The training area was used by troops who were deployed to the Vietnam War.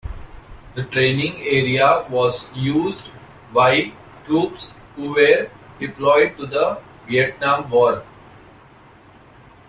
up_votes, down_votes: 2, 0